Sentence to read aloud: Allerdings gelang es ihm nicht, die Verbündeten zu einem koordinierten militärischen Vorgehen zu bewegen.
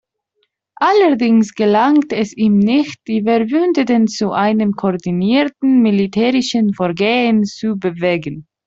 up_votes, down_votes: 1, 2